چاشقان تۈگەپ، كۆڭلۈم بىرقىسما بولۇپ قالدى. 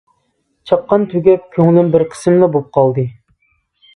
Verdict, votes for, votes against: rejected, 0, 2